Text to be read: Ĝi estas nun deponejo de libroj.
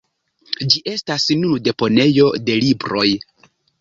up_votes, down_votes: 1, 2